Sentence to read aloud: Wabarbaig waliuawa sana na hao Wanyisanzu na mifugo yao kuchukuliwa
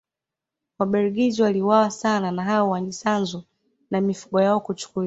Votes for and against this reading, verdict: 0, 2, rejected